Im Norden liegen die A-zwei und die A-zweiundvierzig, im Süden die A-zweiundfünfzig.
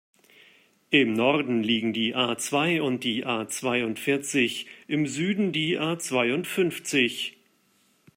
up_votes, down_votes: 2, 0